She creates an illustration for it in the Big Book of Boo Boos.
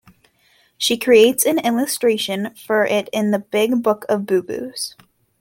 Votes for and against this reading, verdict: 2, 0, accepted